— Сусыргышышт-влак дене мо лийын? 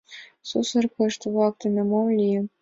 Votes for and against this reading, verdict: 0, 2, rejected